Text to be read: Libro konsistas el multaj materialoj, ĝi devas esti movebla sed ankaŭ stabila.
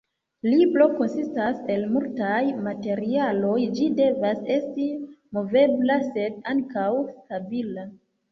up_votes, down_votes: 2, 1